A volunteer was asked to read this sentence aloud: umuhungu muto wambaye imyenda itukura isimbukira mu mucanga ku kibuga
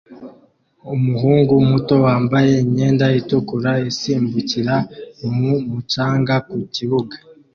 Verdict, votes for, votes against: accepted, 2, 0